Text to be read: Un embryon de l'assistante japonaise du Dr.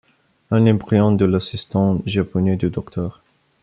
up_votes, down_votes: 1, 2